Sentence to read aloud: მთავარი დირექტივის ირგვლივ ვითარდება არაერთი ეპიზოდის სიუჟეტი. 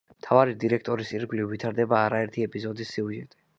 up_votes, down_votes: 1, 2